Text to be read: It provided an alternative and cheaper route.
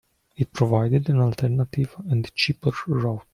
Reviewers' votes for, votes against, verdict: 0, 2, rejected